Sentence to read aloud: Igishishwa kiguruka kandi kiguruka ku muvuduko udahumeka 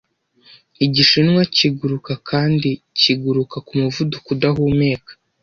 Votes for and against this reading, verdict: 0, 2, rejected